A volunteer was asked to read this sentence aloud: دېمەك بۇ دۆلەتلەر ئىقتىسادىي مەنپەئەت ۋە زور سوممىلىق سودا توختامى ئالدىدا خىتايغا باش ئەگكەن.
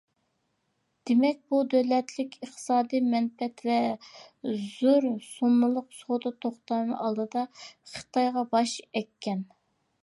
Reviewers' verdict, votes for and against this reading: rejected, 0, 2